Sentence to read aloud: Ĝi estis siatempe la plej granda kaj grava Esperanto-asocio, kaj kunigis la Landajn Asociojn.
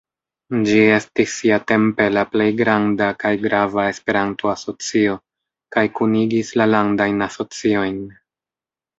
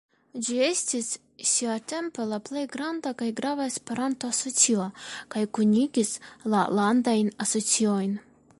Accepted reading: first